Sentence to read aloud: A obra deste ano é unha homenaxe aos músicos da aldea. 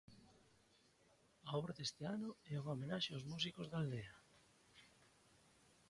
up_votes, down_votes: 1, 2